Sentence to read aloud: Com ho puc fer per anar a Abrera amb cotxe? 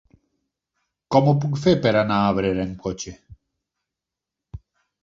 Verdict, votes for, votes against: accepted, 6, 0